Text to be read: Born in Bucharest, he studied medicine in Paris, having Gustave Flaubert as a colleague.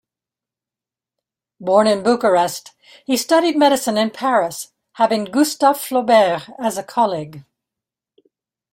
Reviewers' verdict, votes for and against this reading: accepted, 2, 0